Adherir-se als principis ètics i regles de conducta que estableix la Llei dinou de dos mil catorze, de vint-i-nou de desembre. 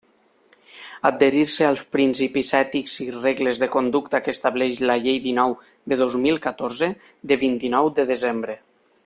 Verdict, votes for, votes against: accepted, 3, 1